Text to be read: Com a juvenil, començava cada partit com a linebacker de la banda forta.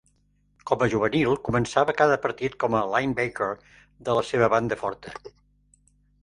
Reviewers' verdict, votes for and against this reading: rejected, 0, 3